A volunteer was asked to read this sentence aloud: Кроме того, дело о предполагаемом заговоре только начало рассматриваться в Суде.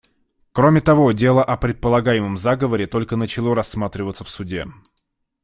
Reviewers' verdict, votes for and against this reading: accepted, 2, 0